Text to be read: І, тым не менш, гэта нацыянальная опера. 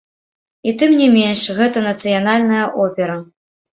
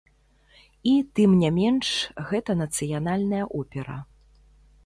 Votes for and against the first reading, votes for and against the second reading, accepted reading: 2, 3, 3, 0, second